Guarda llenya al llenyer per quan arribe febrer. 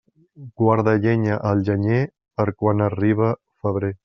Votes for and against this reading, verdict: 1, 2, rejected